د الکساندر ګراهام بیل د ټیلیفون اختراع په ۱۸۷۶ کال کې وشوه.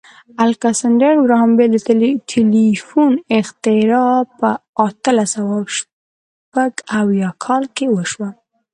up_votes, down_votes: 0, 2